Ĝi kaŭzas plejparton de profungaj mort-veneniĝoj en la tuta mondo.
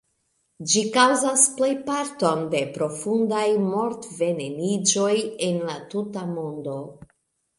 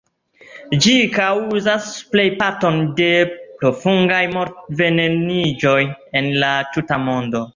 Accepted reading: second